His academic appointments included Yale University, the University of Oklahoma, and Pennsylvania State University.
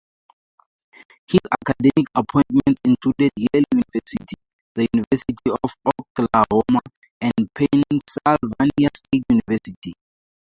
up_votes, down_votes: 0, 4